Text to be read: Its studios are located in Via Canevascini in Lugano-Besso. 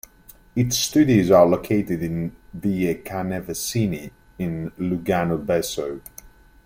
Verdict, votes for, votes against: rejected, 1, 2